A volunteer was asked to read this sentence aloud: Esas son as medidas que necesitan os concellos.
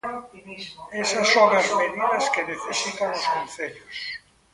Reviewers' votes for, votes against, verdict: 0, 2, rejected